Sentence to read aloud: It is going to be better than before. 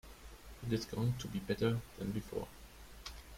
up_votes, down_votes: 1, 2